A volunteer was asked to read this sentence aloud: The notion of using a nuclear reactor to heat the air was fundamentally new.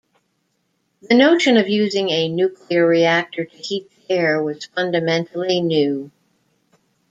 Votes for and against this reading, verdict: 1, 2, rejected